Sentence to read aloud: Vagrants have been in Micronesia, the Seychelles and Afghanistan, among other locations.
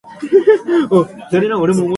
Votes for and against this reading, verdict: 0, 2, rejected